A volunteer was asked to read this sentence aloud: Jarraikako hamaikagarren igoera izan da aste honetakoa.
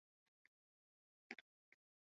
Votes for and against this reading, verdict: 0, 4, rejected